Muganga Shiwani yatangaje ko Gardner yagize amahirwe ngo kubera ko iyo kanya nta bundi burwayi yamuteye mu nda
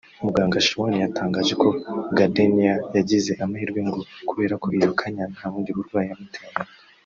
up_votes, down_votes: 0, 2